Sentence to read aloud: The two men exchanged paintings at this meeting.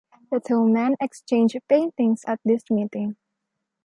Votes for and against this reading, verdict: 3, 0, accepted